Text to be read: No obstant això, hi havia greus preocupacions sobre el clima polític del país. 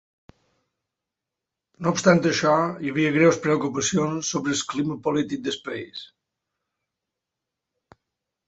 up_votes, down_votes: 1, 3